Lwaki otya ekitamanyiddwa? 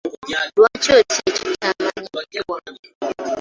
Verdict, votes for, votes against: rejected, 0, 2